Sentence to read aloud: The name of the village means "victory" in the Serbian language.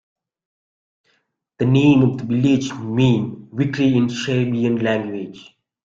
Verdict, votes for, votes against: rejected, 1, 2